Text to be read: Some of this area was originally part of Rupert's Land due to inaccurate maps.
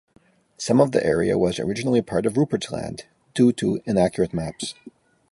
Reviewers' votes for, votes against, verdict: 0, 2, rejected